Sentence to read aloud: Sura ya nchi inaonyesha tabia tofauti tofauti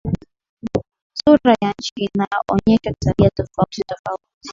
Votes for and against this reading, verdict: 2, 0, accepted